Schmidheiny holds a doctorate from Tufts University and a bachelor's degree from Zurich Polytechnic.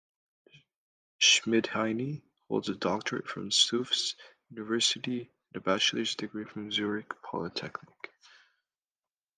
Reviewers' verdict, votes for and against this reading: accepted, 2, 0